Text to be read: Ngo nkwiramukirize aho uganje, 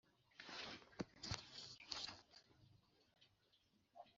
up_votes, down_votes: 1, 2